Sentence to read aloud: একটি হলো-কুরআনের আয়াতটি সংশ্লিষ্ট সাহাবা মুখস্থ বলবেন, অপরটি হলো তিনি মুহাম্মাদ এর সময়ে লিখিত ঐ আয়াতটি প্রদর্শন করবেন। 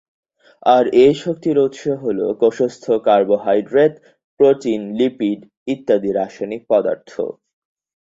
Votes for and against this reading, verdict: 0, 2, rejected